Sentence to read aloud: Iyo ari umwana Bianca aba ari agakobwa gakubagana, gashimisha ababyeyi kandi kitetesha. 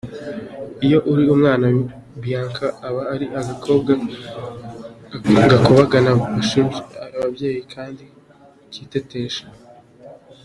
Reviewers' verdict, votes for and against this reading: rejected, 1, 2